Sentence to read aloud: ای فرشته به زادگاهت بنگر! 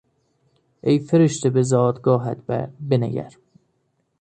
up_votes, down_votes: 1, 2